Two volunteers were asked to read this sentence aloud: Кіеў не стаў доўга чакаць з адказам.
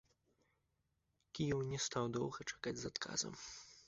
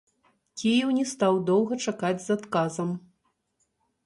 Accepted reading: first